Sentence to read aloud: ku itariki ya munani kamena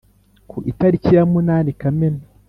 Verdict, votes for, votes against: accepted, 3, 1